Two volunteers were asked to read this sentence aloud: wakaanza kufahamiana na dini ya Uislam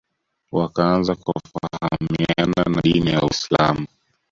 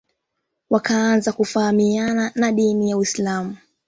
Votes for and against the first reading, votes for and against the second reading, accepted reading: 0, 2, 2, 1, second